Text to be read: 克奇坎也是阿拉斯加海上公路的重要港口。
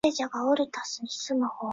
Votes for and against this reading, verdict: 0, 4, rejected